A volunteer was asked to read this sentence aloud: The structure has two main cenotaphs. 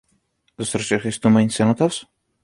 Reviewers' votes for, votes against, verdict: 2, 0, accepted